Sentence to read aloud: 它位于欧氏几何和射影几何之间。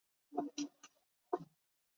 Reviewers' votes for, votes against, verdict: 1, 4, rejected